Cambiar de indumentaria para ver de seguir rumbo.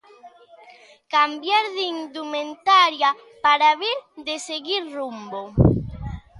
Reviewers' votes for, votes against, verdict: 1, 2, rejected